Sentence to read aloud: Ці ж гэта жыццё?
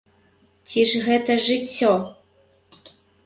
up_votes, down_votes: 2, 0